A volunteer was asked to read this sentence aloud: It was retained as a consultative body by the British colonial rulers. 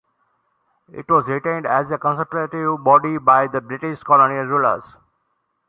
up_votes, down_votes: 2, 1